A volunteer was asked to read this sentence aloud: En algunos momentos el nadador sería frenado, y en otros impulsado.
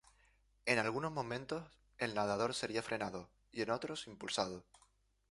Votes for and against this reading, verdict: 0, 4, rejected